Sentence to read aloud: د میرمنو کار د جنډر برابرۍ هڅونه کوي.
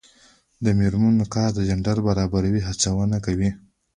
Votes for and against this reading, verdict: 2, 3, rejected